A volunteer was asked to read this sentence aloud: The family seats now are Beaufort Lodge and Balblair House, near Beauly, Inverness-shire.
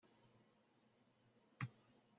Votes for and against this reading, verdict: 0, 2, rejected